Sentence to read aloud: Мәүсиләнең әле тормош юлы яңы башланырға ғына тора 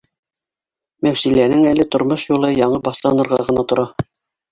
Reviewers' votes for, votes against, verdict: 2, 1, accepted